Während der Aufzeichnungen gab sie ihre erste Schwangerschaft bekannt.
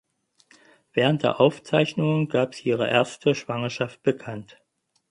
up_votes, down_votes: 4, 0